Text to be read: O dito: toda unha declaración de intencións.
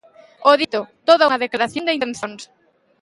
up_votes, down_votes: 0, 2